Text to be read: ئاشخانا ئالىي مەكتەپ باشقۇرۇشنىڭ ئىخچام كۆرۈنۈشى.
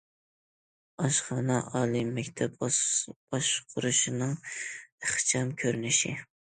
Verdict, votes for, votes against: rejected, 0, 2